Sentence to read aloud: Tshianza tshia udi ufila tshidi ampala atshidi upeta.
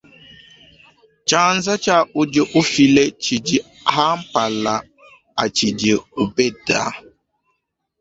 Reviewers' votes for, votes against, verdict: 1, 2, rejected